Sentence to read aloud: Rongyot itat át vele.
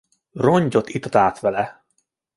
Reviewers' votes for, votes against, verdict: 2, 0, accepted